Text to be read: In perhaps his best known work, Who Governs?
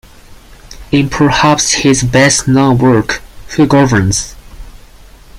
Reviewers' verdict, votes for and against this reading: accepted, 4, 0